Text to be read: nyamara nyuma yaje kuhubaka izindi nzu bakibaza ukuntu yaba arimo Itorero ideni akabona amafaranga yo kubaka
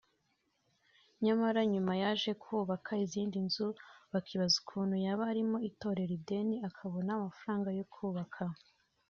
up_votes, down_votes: 2, 1